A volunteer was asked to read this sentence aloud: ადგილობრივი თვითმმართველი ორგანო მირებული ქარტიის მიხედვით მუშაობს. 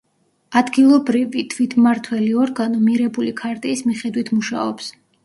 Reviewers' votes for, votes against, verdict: 2, 0, accepted